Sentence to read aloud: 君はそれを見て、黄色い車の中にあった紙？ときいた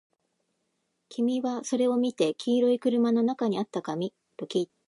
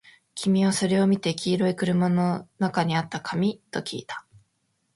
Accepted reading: second